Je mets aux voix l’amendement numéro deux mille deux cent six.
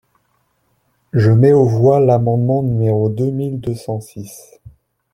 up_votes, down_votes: 2, 0